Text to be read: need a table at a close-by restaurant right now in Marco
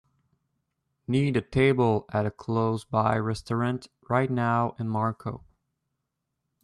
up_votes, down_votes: 2, 0